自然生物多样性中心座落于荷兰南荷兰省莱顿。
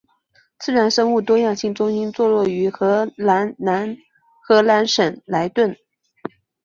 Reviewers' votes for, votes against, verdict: 2, 0, accepted